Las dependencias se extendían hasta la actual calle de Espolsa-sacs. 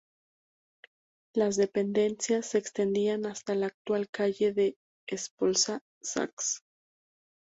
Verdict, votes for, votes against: rejected, 0, 2